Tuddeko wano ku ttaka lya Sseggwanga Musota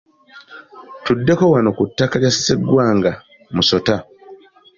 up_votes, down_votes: 2, 1